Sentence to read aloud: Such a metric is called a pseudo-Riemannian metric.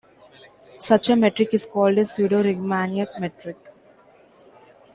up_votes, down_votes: 2, 1